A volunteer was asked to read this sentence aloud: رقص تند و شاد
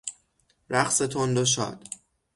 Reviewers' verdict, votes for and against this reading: accepted, 6, 0